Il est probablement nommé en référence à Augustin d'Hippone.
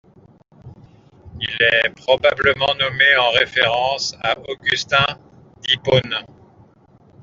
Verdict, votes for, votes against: accepted, 2, 0